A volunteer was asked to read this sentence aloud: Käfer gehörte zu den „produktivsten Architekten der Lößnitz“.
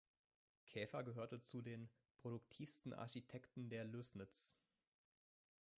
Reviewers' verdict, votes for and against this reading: accepted, 2, 0